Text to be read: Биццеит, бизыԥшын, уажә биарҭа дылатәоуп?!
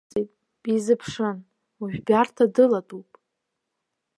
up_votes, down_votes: 0, 2